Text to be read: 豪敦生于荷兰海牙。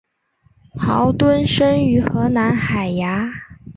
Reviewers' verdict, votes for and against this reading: accepted, 4, 0